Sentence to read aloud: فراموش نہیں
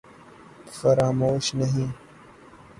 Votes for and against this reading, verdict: 9, 0, accepted